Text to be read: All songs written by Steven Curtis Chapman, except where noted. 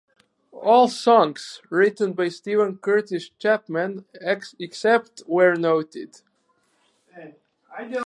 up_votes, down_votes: 2, 2